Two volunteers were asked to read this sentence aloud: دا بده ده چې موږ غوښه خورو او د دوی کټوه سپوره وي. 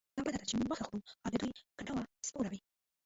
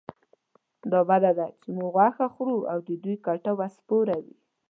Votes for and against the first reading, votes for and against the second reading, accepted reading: 1, 2, 2, 0, second